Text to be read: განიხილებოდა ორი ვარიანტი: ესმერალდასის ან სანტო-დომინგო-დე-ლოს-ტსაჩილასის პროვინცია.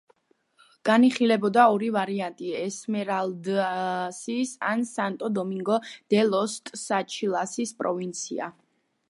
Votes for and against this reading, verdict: 1, 2, rejected